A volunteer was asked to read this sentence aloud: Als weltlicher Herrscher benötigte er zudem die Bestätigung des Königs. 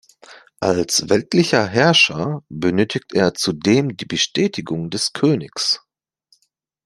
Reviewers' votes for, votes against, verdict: 2, 1, accepted